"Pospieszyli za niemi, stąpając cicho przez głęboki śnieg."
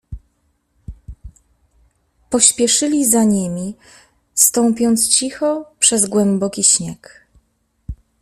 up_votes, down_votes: 1, 2